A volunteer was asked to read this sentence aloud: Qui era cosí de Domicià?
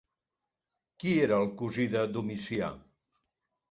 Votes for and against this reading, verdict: 1, 2, rejected